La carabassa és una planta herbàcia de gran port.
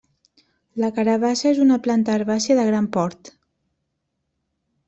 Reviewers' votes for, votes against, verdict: 1, 2, rejected